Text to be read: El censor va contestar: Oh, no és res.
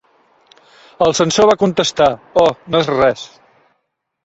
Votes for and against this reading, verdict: 2, 0, accepted